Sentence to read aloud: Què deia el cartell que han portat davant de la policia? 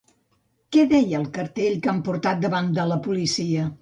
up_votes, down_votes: 2, 0